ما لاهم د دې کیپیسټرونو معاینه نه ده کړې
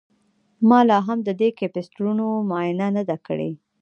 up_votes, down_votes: 2, 0